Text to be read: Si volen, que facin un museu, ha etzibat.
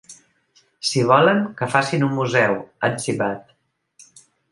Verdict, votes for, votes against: accepted, 2, 0